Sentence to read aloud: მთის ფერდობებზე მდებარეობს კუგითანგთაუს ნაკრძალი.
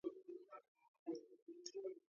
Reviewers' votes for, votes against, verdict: 0, 2, rejected